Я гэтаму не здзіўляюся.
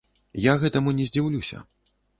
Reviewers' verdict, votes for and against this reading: rejected, 1, 2